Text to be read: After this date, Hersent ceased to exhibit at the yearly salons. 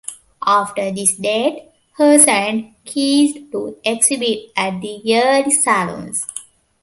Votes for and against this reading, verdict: 0, 2, rejected